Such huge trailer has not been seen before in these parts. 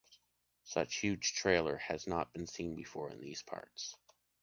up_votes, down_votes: 3, 0